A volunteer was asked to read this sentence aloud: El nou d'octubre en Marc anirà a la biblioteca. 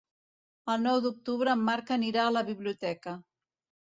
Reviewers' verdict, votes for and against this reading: accepted, 2, 0